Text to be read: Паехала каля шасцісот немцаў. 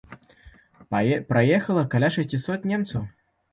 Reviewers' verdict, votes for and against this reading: rejected, 0, 2